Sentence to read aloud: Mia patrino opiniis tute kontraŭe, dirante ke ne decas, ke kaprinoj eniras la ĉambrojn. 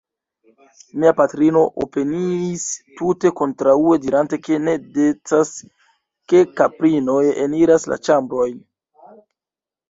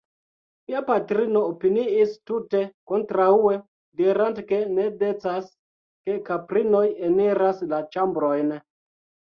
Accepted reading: second